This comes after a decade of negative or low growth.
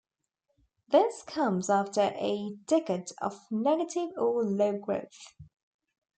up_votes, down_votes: 2, 0